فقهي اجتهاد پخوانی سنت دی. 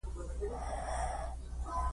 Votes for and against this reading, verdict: 0, 2, rejected